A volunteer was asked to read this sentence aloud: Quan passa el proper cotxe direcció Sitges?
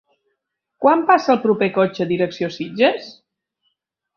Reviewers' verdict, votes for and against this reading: accepted, 3, 0